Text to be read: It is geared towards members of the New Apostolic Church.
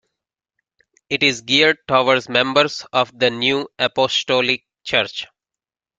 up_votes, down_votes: 2, 1